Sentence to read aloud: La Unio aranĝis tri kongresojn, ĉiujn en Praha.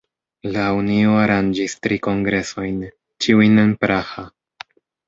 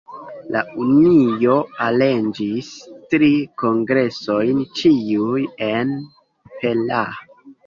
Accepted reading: first